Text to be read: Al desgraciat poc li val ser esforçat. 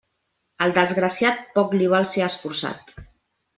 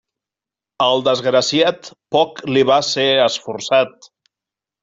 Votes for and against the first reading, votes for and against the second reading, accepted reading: 3, 0, 1, 2, first